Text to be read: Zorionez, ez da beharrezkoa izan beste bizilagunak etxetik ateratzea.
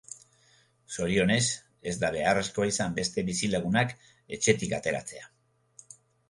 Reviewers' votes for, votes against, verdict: 2, 0, accepted